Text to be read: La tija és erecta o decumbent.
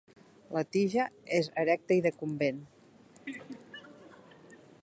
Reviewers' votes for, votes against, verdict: 1, 2, rejected